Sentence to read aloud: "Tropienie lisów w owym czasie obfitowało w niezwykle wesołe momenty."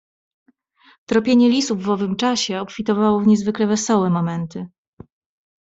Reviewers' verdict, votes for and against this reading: accepted, 2, 0